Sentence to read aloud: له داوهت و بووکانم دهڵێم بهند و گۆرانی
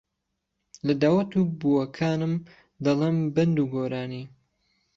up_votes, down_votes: 0, 3